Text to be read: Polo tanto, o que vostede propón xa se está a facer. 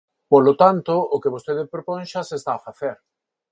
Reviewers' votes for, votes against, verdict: 4, 0, accepted